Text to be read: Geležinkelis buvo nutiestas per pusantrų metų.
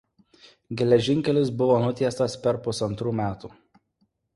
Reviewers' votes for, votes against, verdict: 2, 0, accepted